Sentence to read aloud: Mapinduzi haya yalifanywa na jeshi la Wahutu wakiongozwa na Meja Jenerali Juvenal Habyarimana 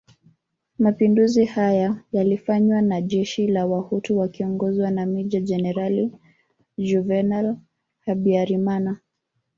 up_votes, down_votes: 1, 2